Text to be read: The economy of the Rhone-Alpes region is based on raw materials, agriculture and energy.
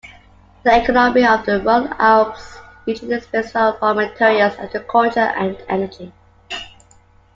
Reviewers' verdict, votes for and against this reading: rejected, 0, 2